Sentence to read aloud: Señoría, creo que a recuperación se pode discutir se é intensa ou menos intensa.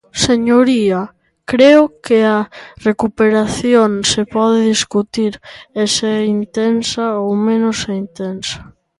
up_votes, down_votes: 0, 2